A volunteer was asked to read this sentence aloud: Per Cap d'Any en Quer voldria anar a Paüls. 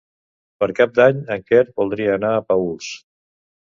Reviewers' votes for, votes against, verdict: 2, 0, accepted